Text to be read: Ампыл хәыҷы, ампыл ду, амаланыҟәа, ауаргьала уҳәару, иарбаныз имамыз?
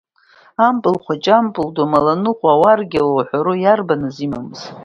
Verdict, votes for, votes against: accepted, 2, 0